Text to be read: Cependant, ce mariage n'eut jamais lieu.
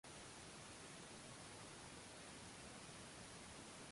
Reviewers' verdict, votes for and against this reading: rejected, 0, 2